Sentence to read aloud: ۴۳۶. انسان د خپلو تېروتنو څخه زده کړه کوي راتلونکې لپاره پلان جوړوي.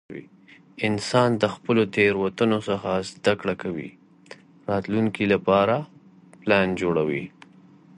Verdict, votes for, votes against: rejected, 0, 2